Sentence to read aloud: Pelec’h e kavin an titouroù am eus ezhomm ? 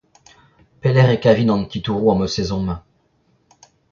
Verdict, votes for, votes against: rejected, 0, 2